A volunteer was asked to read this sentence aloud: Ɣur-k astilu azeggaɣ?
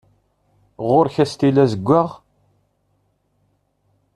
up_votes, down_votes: 2, 0